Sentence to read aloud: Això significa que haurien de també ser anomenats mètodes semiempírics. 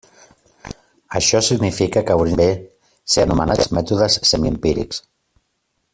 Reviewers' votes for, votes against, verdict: 0, 2, rejected